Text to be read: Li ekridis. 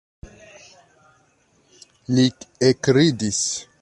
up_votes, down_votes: 2, 1